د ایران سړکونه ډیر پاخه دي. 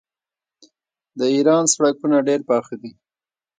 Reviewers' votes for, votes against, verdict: 0, 2, rejected